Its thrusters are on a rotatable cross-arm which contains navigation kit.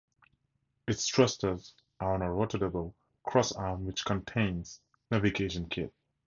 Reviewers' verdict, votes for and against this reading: accepted, 4, 0